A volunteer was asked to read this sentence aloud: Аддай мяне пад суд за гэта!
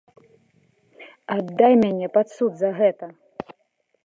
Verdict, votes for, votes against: accepted, 2, 0